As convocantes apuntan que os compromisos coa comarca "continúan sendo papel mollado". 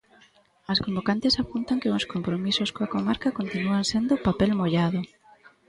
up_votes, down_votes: 0, 2